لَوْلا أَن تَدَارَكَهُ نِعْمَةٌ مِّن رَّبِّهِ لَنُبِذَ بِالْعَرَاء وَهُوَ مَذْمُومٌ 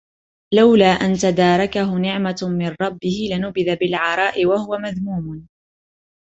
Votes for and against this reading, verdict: 3, 0, accepted